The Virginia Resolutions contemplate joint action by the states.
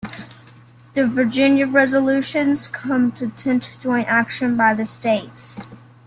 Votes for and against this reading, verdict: 2, 0, accepted